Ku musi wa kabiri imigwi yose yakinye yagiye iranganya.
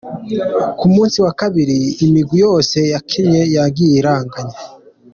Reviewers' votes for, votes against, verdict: 2, 0, accepted